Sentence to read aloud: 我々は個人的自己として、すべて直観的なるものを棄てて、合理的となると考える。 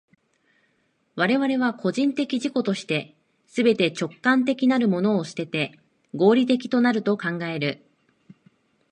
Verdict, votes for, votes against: accepted, 2, 0